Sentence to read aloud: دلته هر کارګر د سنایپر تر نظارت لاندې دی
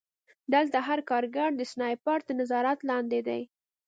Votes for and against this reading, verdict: 2, 0, accepted